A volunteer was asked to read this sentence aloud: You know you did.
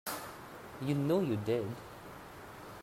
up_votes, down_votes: 3, 0